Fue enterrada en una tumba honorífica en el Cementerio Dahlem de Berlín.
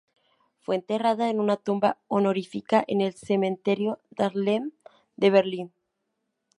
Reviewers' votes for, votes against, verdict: 0, 2, rejected